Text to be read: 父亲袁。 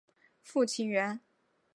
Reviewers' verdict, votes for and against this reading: accepted, 2, 0